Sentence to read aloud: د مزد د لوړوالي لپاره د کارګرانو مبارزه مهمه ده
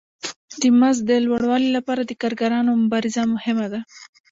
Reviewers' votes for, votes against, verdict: 0, 2, rejected